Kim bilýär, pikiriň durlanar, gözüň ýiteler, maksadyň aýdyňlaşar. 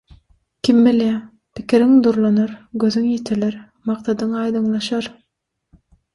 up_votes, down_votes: 6, 0